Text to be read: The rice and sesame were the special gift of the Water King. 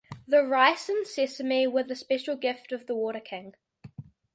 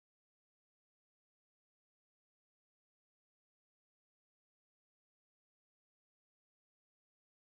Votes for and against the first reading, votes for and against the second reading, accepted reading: 2, 0, 0, 2, first